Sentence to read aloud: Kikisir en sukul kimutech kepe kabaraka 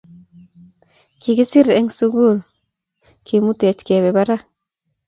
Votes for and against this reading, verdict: 1, 2, rejected